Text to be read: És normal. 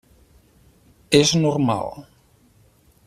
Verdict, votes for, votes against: accepted, 12, 2